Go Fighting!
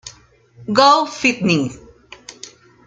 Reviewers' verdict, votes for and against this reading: rejected, 1, 2